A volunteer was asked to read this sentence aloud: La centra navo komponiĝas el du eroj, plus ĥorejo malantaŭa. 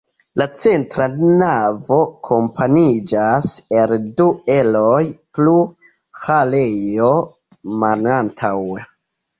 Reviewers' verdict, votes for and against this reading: rejected, 0, 2